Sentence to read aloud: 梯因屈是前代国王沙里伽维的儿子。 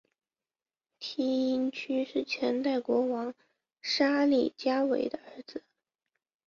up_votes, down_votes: 1, 2